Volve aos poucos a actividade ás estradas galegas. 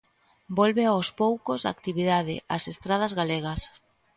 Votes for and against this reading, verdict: 2, 0, accepted